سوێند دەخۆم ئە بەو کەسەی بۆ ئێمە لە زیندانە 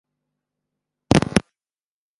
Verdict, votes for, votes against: rejected, 0, 2